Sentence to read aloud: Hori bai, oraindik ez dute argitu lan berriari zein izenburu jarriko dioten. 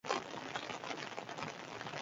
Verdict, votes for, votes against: rejected, 0, 6